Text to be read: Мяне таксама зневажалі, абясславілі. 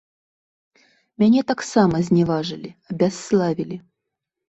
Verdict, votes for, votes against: rejected, 1, 2